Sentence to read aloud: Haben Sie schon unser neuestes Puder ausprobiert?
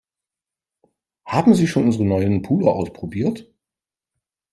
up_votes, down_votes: 0, 3